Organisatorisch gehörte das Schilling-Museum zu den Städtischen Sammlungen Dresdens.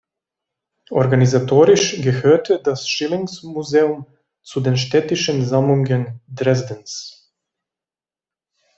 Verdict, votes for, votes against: rejected, 0, 2